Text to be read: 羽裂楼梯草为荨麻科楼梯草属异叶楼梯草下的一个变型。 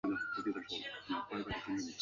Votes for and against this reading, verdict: 1, 2, rejected